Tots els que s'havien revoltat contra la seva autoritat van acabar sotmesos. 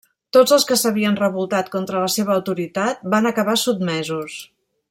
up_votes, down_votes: 0, 2